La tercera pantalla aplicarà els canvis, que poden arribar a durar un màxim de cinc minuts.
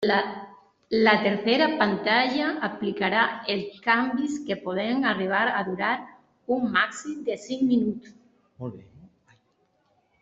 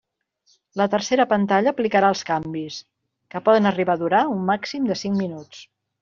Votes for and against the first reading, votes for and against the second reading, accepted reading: 0, 2, 3, 0, second